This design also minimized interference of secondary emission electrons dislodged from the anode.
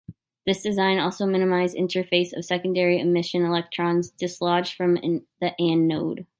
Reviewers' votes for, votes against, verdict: 0, 2, rejected